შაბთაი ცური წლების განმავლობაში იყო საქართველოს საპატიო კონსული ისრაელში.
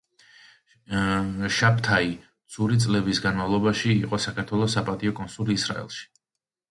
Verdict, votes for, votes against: accepted, 2, 1